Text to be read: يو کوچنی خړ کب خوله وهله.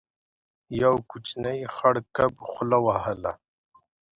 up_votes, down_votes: 2, 0